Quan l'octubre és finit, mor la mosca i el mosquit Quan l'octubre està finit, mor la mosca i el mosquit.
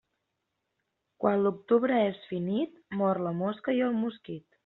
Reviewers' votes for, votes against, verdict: 0, 2, rejected